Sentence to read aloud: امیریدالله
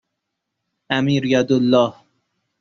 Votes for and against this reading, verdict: 2, 0, accepted